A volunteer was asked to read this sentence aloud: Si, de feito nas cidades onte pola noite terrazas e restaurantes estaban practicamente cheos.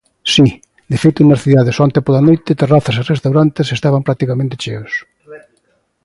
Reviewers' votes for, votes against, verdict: 1, 2, rejected